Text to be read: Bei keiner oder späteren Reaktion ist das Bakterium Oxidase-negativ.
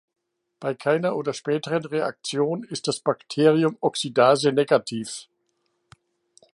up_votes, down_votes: 2, 0